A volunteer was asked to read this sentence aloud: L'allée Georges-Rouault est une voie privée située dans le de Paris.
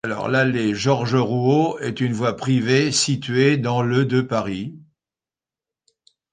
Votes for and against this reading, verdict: 2, 1, accepted